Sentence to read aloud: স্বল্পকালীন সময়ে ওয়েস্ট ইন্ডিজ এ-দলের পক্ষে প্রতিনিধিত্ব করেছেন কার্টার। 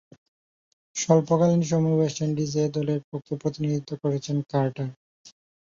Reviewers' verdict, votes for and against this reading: accepted, 5, 1